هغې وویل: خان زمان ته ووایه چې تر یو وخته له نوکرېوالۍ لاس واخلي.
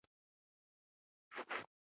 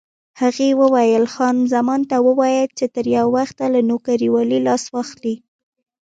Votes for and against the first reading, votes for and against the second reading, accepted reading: 1, 2, 2, 0, second